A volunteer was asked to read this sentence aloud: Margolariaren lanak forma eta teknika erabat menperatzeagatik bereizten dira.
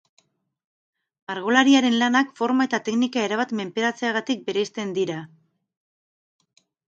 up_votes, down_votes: 0, 2